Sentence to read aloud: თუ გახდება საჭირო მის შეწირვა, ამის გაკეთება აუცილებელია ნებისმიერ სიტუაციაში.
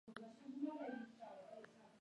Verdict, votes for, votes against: rejected, 1, 2